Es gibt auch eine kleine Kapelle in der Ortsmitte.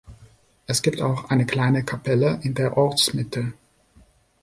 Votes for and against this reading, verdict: 2, 0, accepted